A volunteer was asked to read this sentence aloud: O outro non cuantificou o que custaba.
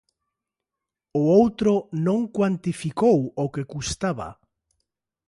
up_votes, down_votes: 2, 0